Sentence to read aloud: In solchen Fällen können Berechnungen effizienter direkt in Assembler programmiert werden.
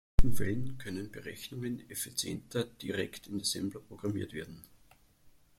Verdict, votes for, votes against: rejected, 0, 2